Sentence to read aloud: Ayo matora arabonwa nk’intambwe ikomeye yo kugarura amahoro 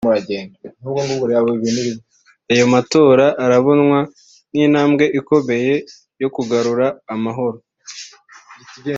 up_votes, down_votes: 2, 0